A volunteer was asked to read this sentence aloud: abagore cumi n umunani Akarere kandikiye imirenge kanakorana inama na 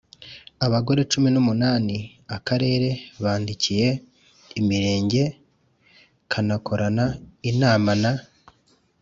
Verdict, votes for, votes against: rejected, 0, 2